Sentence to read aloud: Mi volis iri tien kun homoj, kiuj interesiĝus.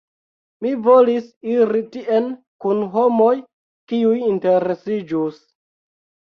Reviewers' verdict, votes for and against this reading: accepted, 2, 0